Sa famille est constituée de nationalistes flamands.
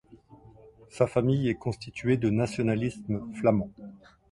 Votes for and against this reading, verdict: 2, 0, accepted